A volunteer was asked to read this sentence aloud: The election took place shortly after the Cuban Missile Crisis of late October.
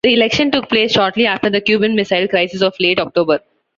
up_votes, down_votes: 2, 0